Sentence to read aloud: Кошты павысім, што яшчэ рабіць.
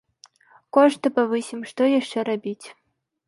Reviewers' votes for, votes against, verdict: 2, 0, accepted